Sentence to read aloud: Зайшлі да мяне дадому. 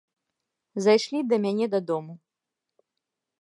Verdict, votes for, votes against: accepted, 2, 0